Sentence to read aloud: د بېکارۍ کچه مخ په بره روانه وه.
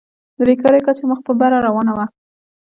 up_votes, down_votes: 2, 1